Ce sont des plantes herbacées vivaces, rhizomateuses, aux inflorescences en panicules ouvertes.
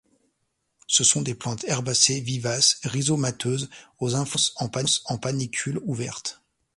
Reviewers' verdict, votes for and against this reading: rejected, 0, 2